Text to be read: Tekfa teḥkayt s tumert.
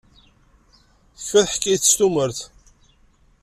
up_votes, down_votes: 1, 2